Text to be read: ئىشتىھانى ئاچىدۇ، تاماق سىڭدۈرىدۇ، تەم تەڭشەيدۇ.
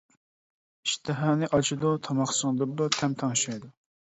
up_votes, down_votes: 2, 1